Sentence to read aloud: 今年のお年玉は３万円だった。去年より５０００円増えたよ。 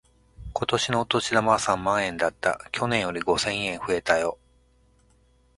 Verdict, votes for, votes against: rejected, 0, 2